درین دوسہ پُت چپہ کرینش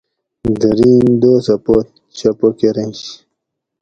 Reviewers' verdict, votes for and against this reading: accepted, 2, 0